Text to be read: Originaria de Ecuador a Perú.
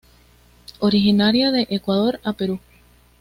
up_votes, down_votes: 2, 0